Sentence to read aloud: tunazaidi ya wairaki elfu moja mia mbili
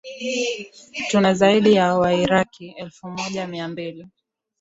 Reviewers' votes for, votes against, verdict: 5, 1, accepted